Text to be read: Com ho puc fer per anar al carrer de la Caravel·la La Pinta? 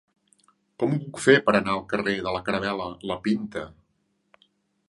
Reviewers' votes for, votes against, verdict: 3, 0, accepted